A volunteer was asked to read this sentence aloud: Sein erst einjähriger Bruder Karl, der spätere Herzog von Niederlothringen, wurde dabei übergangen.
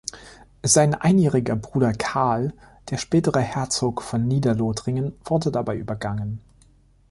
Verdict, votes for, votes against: rejected, 0, 2